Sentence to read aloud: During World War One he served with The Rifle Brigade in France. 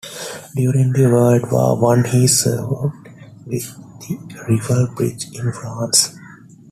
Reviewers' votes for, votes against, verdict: 1, 2, rejected